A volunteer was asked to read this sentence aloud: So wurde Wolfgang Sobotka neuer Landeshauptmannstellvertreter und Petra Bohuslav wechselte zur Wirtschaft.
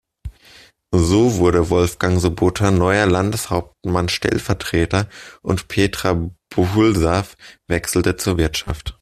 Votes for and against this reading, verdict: 0, 2, rejected